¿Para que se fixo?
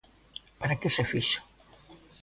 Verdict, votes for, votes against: accepted, 2, 0